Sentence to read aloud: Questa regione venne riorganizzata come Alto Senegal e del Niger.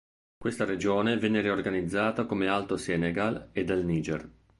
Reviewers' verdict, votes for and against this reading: accepted, 2, 0